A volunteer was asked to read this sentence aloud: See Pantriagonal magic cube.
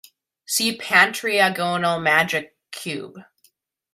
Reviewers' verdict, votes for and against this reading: accepted, 2, 1